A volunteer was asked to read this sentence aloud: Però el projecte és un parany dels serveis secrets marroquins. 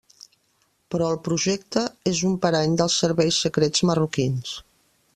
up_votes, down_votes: 3, 0